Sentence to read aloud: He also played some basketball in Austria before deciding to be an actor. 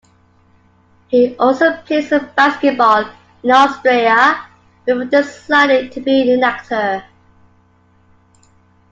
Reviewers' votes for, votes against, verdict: 2, 0, accepted